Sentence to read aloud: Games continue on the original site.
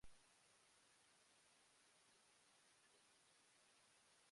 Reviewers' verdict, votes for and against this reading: rejected, 0, 2